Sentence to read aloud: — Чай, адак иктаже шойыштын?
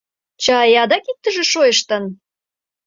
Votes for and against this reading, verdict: 1, 2, rejected